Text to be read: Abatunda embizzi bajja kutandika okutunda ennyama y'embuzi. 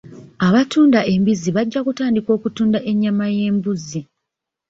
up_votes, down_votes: 2, 0